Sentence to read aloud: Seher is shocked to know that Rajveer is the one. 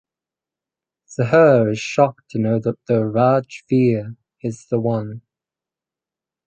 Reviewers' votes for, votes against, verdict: 2, 4, rejected